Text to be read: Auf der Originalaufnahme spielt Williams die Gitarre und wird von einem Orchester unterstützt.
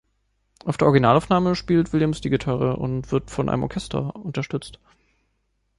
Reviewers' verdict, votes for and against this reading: accepted, 2, 0